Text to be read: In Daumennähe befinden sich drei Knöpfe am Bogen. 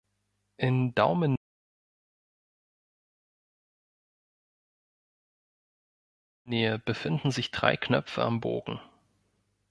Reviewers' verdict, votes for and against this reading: rejected, 0, 2